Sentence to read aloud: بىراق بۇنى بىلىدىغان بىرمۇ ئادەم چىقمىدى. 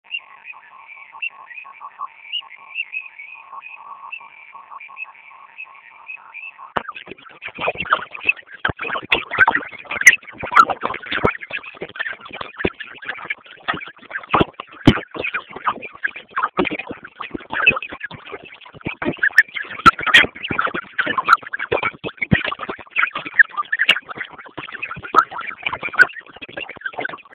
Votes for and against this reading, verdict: 0, 2, rejected